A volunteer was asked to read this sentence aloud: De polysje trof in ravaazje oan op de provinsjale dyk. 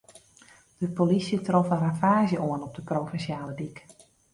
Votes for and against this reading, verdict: 2, 0, accepted